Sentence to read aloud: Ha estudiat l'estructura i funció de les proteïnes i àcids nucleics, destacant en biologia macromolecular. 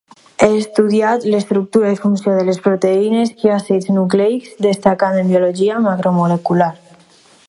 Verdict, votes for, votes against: rejected, 0, 2